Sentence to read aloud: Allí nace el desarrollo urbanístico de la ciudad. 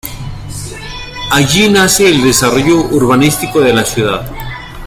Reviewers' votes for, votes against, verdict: 0, 2, rejected